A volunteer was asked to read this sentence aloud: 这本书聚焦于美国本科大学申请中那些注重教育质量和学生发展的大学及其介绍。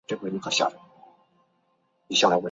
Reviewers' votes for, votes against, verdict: 1, 2, rejected